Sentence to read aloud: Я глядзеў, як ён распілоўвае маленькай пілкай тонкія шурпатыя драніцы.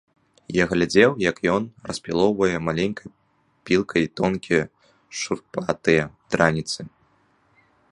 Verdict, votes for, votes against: rejected, 0, 2